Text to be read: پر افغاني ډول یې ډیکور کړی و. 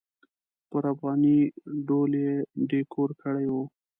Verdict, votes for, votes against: rejected, 1, 2